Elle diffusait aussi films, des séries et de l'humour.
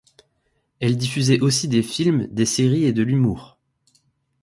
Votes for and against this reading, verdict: 0, 2, rejected